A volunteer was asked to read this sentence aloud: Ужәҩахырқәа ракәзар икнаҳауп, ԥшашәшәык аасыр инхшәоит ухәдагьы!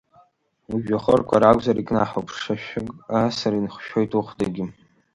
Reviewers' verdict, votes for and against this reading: accepted, 2, 0